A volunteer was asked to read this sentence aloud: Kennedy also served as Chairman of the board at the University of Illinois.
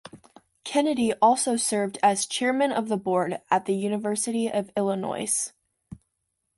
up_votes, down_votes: 2, 1